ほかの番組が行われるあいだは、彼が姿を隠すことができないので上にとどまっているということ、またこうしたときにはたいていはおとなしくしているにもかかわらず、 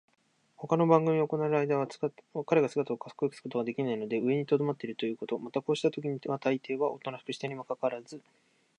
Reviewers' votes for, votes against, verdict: 1, 2, rejected